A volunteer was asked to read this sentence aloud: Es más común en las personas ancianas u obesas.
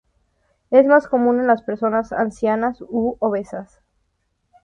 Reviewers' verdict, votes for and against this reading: accepted, 2, 0